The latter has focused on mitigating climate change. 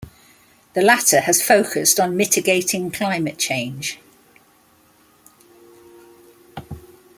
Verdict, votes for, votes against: accepted, 2, 0